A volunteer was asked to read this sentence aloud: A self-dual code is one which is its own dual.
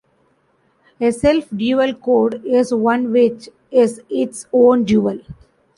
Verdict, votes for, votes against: rejected, 1, 2